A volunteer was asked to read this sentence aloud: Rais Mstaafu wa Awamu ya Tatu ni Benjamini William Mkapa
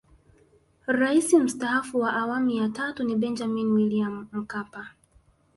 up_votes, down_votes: 2, 0